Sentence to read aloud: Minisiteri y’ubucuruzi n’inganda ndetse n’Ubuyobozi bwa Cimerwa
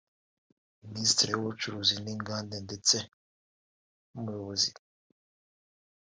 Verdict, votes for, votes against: rejected, 0, 2